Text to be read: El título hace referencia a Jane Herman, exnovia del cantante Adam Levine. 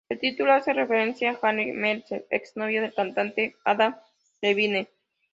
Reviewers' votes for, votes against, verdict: 0, 2, rejected